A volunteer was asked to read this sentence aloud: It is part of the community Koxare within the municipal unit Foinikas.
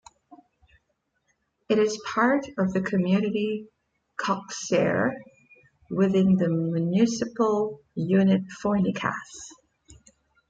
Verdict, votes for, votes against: rejected, 0, 2